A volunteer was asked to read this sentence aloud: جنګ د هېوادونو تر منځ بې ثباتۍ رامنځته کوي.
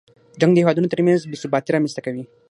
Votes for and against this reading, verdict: 3, 6, rejected